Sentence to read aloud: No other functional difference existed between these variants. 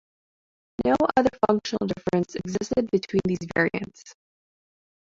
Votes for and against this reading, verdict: 1, 2, rejected